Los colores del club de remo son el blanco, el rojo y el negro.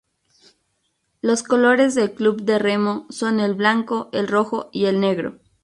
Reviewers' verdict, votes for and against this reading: rejected, 0, 2